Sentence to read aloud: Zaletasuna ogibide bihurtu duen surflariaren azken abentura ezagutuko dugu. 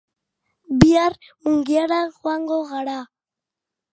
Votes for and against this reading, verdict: 0, 2, rejected